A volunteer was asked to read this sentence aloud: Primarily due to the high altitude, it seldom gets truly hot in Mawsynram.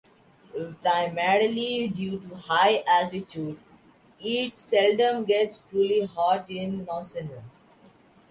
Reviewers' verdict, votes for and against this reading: rejected, 0, 2